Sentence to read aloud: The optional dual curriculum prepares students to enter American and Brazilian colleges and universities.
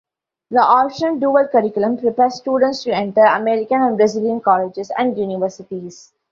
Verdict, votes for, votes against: rejected, 1, 2